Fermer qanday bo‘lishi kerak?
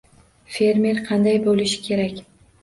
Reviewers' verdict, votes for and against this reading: accepted, 2, 0